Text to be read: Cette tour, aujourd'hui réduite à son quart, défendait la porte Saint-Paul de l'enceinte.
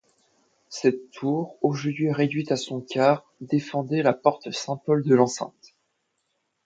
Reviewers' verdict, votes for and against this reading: accepted, 2, 0